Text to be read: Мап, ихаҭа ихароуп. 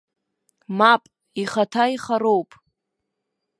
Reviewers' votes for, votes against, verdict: 1, 2, rejected